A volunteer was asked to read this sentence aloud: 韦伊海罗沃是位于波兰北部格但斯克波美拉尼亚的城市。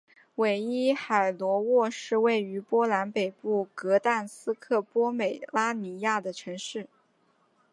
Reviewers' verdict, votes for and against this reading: accepted, 2, 0